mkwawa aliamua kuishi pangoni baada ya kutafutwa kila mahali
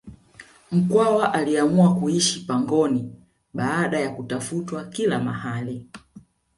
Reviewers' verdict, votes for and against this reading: accepted, 2, 0